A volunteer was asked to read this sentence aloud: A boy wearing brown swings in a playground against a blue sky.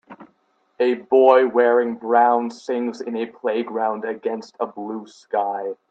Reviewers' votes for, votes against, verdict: 2, 3, rejected